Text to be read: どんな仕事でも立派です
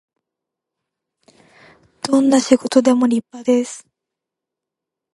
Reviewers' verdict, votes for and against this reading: rejected, 0, 2